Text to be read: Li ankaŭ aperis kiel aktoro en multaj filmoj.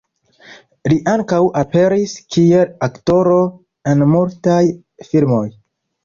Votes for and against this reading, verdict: 0, 2, rejected